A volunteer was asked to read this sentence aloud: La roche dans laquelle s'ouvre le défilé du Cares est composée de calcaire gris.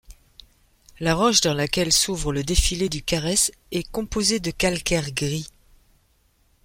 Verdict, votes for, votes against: accepted, 2, 0